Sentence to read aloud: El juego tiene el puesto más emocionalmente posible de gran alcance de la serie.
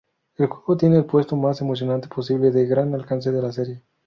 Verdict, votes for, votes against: rejected, 0, 2